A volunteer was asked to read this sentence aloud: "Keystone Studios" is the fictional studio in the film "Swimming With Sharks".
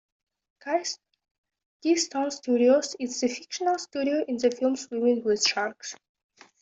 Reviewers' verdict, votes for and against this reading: rejected, 0, 2